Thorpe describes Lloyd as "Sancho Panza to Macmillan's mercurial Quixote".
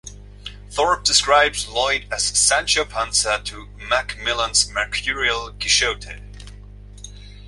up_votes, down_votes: 3, 0